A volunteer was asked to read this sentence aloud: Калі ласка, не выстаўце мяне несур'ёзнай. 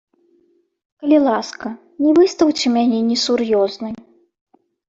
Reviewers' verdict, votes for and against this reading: accepted, 2, 1